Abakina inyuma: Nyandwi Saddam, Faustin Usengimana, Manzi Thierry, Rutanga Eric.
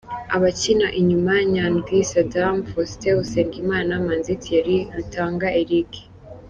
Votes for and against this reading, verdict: 2, 0, accepted